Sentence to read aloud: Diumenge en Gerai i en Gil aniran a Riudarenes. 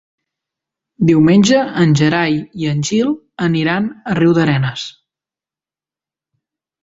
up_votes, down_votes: 2, 0